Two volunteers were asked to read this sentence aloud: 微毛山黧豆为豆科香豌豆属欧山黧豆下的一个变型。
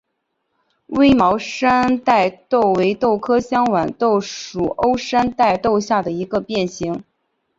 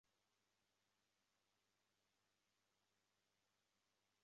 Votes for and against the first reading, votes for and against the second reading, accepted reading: 2, 0, 0, 2, first